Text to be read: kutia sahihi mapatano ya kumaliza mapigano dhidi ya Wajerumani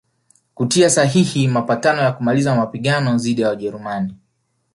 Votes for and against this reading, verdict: 2, 3, rejected